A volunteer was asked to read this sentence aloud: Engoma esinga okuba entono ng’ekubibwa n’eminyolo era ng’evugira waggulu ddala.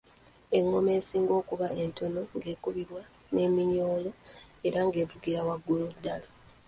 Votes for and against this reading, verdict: 2, 0, accepted